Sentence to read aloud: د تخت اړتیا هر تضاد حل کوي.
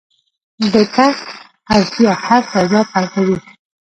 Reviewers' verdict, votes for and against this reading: rejected, 1, 2